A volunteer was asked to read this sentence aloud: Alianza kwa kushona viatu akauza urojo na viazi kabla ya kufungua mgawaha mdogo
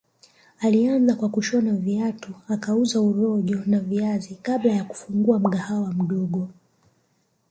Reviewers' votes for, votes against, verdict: 1, 2, rejected